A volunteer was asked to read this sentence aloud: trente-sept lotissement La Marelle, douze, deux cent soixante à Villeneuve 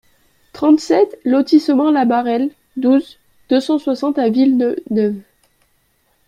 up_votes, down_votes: 1, 2